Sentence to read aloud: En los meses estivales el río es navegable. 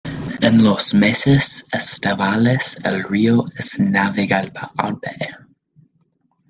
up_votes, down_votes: 1, 2